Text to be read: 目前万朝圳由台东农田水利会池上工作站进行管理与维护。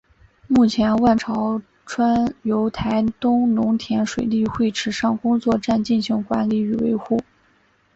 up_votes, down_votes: 0, 2